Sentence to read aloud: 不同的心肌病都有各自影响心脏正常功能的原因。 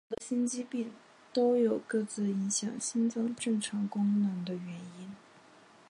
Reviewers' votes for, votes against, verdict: 1, 2, rejected